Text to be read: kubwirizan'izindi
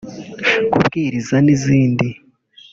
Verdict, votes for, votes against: accepted, 2, 0